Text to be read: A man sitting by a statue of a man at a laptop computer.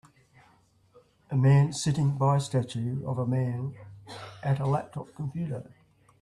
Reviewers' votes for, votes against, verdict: 2, 0, accepted